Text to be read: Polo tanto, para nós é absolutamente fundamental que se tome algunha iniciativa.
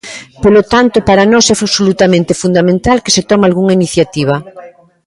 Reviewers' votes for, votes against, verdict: 0, 2, rejected